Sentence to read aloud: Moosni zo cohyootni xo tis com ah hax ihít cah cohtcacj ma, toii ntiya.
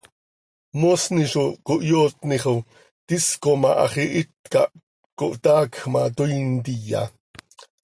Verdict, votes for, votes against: rejected, 1, 2